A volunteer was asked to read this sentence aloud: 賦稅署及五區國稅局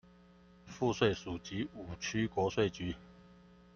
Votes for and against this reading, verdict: 2, 0, accepted